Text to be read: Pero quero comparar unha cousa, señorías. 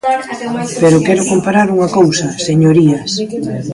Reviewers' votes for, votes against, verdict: 1, 2, rejected